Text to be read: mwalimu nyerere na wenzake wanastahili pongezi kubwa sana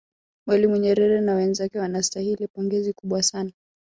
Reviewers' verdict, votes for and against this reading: accepted, 4, 1